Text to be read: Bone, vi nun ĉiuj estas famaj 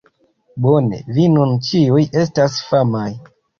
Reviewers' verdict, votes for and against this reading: accepted, 2, 0